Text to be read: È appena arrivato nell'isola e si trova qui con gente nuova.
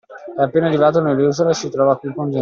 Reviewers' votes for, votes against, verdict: 0, 2, rejected